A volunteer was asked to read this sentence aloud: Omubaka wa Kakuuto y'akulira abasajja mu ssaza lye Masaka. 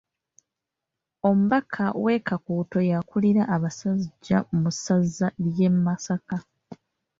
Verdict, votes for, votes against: rejected, 0, 2